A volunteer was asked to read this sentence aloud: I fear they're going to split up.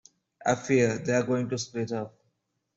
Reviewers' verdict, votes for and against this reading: accepted, 2, 0